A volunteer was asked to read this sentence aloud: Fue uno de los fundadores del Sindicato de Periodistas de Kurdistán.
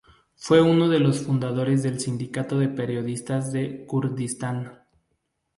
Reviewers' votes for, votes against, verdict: 4, 0, accepted